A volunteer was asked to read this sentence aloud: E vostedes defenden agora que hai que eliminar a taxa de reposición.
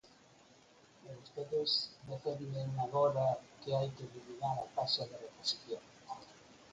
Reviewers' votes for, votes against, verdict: 2, 4, rejected